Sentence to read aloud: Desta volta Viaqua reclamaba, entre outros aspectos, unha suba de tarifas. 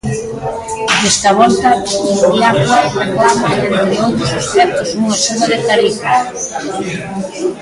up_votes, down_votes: 0, 2